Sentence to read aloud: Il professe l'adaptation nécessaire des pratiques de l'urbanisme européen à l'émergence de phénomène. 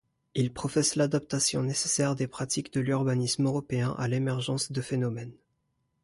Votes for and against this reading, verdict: 2, 0, accepted